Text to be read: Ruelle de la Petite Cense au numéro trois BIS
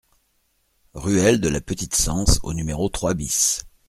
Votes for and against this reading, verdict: 2, 0, accepted